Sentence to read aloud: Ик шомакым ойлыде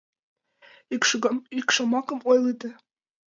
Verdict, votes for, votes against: rejected, 1, 2